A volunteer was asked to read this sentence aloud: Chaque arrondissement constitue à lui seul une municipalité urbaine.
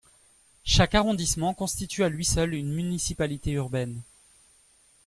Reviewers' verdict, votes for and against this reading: accepted, 2, 0